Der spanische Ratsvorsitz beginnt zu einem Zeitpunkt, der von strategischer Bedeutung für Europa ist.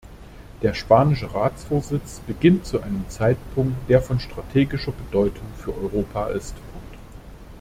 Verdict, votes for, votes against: rejected, 0, 2